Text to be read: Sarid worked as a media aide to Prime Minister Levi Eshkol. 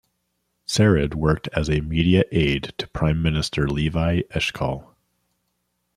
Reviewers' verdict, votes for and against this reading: accepted, 2, 0